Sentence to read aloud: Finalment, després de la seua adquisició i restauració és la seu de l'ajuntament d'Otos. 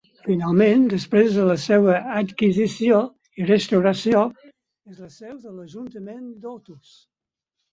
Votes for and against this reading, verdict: 0, 4, rejected